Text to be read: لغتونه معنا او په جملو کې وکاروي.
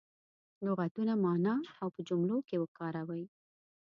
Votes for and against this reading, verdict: 3, 0, accepted